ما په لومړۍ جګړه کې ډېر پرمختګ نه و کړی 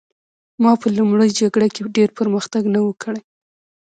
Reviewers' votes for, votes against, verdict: 2, 0, accepted